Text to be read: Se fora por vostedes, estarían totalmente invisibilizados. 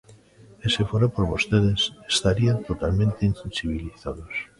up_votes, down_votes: 1, 2